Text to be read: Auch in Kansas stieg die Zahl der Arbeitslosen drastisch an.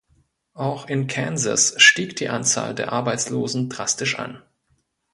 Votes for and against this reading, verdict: 0, 2, rejected